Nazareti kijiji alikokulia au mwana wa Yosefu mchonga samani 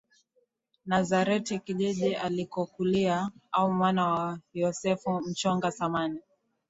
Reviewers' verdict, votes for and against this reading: rejected, 0, 2